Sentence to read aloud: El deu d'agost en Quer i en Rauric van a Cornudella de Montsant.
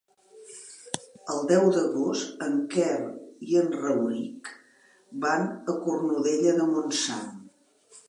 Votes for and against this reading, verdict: 4, 0, accepted